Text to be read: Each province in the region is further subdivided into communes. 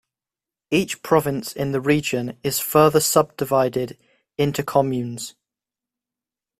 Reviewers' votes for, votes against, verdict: 2, 0, accepted